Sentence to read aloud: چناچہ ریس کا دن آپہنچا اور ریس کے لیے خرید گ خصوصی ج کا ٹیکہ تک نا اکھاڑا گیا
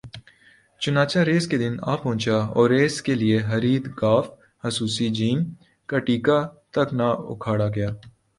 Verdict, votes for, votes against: accepted, 2, 0